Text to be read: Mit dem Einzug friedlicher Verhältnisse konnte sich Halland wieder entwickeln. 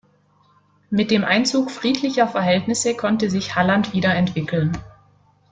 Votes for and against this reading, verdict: 2, 0, accepted